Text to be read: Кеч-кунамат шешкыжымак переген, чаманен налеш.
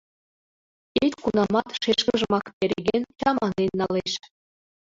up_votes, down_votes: 2, 1